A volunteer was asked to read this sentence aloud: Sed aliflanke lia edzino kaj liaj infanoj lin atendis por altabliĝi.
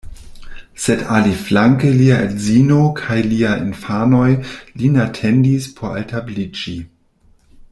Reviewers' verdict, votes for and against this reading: rejected, 0, 2